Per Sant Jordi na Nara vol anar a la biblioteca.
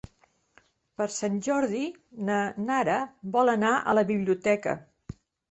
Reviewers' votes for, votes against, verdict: 3, 0, accepted